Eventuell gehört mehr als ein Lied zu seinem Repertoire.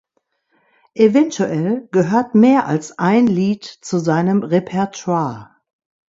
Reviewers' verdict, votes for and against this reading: accepted, 2, 0